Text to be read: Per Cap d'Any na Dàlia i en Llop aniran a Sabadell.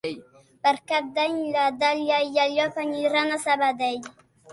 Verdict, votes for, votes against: accepted, 3, 0